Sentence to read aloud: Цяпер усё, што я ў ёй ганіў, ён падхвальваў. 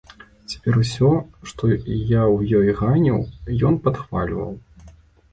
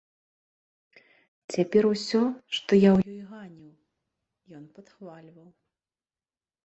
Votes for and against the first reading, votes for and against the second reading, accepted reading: 2, 0, 0, 3, first